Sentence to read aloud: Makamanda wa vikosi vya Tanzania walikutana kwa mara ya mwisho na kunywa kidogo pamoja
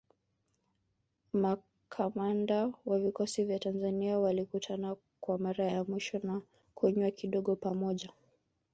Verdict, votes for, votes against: rejected, 1, 2